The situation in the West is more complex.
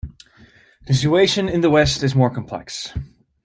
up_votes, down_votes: 0, 2